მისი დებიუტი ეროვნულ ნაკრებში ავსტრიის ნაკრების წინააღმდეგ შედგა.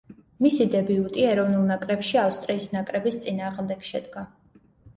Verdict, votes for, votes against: accepted, 2, 0